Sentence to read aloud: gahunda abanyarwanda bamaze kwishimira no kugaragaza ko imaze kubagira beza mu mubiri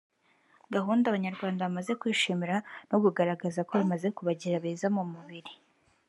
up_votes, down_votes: 3, 0